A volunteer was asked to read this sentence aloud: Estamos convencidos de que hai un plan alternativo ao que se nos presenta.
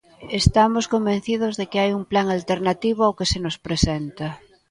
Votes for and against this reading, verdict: 2, 0, accepted